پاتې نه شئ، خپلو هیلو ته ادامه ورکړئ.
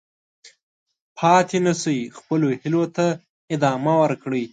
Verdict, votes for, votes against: accepted, 2, 0